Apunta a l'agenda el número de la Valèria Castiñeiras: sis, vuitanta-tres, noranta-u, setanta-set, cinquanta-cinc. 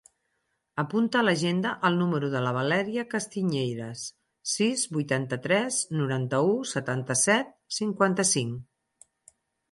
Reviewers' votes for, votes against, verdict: 4, 0, accepted